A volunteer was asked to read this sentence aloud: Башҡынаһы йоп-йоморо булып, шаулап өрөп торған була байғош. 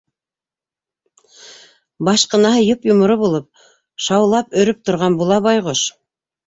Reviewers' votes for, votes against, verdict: 2, 0, accepted